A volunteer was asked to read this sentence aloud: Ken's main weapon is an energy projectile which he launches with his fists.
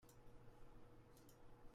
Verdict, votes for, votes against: rejected, 0, 2